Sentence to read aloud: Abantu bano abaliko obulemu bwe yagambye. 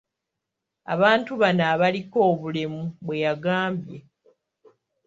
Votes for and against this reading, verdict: 2, 0, accepted